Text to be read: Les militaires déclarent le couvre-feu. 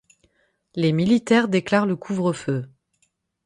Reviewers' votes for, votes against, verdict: 6, 0, accepted